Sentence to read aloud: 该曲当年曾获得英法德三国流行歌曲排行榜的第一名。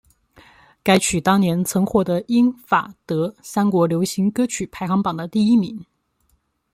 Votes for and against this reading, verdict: 2, 0, accepted